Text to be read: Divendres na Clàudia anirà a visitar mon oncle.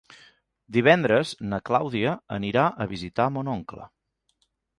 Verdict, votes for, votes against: accepted, 3, 1